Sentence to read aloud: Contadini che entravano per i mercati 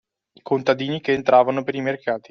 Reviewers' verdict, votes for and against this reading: accepted, 2, 0